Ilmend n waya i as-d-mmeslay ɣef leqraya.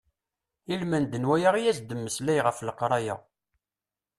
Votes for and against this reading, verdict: 2, 0, accepted